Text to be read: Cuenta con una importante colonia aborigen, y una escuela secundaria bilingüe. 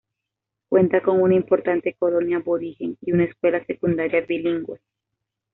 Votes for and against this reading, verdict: 2, 0, accepted